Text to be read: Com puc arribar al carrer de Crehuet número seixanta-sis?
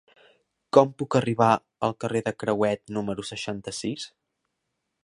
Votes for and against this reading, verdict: 3, 0, accepted